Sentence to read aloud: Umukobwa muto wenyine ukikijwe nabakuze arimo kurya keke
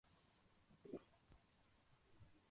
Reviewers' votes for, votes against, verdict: 0, 2, rejected